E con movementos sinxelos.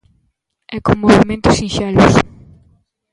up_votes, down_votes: 0, 2